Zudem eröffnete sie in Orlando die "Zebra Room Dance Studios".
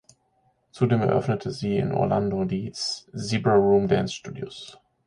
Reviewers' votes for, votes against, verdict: 1, 2, rejected